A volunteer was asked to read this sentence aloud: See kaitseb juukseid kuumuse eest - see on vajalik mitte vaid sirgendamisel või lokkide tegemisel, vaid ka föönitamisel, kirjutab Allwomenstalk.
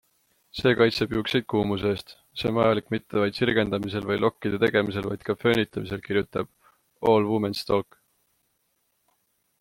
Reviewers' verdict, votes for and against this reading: accepted, 2, 0